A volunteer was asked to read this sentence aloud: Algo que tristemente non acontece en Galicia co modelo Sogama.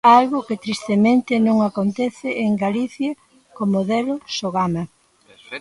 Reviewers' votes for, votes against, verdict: 0, 2, rejected